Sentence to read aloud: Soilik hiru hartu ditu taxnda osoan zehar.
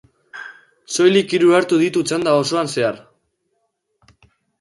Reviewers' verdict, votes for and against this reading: accepted, 2, 0